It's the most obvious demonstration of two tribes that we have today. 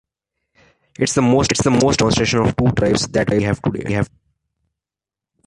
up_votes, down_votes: 0, 2